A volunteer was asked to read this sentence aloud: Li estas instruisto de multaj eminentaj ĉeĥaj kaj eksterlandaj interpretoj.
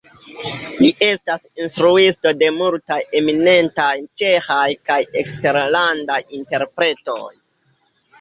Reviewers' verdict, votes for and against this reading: accepted, 2, 1